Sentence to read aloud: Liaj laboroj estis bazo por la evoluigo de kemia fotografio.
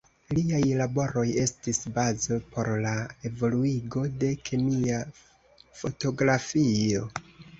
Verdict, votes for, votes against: accepted, 2, 0